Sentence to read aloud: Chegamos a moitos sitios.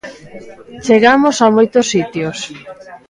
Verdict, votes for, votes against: accepted, 2, 0